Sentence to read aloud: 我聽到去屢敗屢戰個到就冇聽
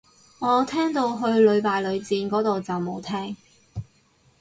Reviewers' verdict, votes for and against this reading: rejected, 2, 2